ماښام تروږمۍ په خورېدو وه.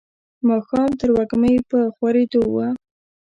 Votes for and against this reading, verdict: 0, 2, rejected